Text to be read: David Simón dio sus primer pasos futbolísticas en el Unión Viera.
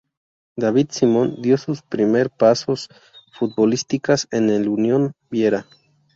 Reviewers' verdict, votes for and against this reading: accepted, 2, 0